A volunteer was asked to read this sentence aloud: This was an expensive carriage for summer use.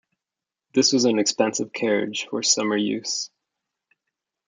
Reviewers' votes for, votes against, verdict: 2, 0, accepted